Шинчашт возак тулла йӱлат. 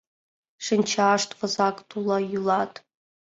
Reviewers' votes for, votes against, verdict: 2, 0, accepted